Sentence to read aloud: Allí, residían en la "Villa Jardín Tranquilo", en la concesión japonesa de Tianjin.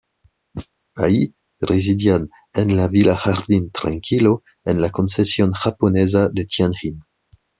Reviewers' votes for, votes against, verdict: 2, 0, accepted